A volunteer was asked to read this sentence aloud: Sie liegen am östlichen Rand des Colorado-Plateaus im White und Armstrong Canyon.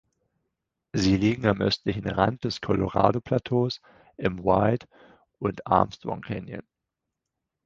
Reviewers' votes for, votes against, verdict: 4, 0, accepted